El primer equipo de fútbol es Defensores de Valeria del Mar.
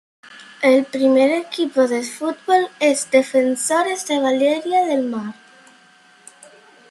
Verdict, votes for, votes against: accepted, 2, 0